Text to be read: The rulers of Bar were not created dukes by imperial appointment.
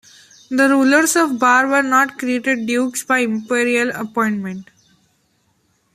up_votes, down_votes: 2, 0